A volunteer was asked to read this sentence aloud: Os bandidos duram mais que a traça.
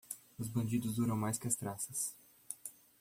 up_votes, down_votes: 1, 2